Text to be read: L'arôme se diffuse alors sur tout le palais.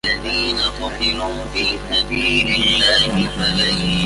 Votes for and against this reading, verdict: 0, 2, rejected